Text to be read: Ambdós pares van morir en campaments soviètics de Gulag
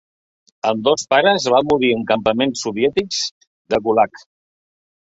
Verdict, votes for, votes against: accepted, 3, 0